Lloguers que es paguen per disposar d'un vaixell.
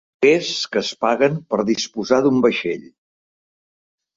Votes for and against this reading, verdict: 0, 2, rejected